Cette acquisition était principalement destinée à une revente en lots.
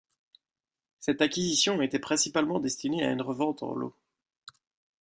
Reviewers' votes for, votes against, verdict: 2, 0, accepted